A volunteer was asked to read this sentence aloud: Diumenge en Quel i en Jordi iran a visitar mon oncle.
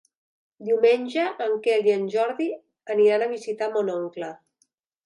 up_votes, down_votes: 1, 2